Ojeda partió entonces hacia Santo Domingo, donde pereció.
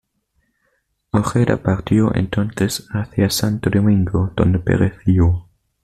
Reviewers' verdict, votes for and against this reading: accepted, 2, 0